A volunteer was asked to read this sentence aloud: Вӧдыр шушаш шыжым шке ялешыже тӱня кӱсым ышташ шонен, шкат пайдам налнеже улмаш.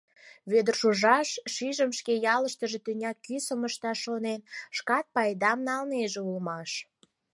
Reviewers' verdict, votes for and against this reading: rejected, 2, 4